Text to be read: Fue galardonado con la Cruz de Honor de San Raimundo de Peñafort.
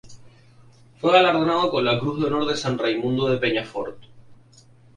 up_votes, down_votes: 0, 2